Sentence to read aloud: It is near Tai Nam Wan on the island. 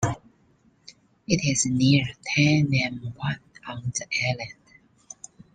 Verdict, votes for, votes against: accepted, 2, 0